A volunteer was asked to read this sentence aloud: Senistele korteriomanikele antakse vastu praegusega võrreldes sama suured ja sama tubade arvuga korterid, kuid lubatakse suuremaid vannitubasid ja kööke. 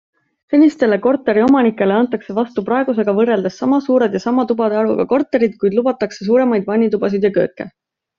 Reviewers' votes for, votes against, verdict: 2, 0, accepted